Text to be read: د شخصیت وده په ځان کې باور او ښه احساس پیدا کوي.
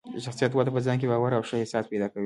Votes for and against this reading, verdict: 2, 1, accepted